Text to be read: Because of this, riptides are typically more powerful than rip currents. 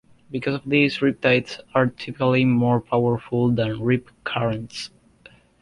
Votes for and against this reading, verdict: 2, 0, accepted